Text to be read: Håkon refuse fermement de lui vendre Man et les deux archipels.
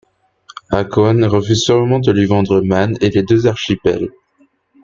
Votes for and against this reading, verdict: 0, 2, rejected